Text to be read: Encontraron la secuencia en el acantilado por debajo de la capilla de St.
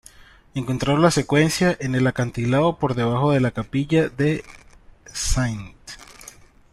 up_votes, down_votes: 2, 0